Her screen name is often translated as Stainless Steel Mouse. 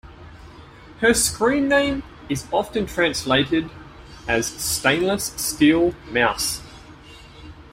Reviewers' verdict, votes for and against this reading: accepted, 2, 0